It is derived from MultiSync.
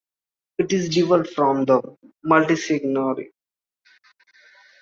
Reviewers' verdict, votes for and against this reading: rejected, 0, 2